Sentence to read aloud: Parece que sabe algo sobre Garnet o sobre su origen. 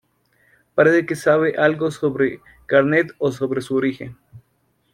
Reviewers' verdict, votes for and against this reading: rejected, 0, 2